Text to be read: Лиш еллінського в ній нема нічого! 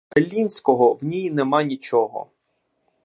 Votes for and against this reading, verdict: 1, 2, rejected